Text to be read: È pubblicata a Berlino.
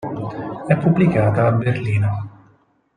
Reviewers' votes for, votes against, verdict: 6, 0, accepted